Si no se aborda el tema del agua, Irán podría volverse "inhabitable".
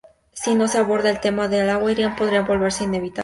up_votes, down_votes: 0, 2